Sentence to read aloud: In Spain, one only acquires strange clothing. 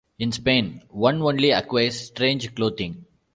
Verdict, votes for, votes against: rejected, 0, 2